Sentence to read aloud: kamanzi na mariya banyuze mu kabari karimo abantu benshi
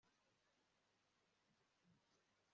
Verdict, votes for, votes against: rejected, 0, 2